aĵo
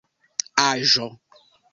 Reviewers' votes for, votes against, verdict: 2, 0, accepted